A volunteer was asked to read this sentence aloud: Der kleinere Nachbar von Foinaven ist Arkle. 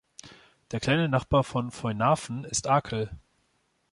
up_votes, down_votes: 2, 0